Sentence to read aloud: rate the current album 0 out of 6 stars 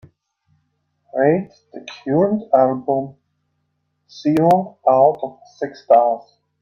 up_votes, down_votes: 0, 2